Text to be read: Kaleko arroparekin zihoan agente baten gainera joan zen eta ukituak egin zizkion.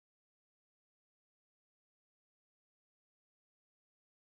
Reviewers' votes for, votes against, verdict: 0, 2, rejected